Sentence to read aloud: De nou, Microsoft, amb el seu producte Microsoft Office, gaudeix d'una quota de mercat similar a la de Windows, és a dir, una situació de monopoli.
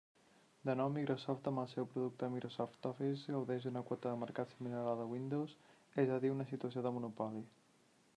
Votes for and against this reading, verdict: 1, 2, rejected